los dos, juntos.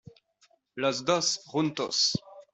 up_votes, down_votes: 2, 1